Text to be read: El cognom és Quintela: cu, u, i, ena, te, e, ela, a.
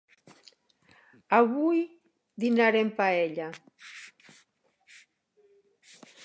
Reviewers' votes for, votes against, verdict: 0, 2, rejected